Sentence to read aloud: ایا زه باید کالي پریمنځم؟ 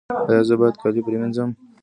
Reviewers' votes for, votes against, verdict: 2, 0, accepted